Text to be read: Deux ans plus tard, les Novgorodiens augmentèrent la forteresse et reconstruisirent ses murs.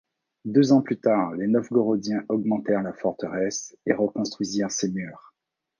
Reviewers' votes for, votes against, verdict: 2, 0, accepted